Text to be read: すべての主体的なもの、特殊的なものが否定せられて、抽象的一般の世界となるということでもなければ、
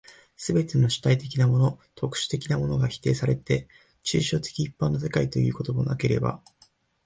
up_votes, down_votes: 2, 0